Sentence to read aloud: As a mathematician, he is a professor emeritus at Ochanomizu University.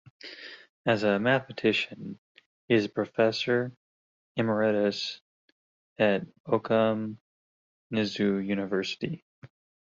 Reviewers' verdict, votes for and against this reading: rejected, 0, 2